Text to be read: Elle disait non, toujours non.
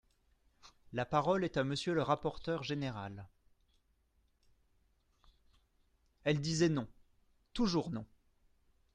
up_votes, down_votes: 0, 2